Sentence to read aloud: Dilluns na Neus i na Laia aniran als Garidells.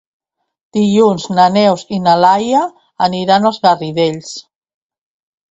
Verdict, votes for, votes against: accepted, 2, 0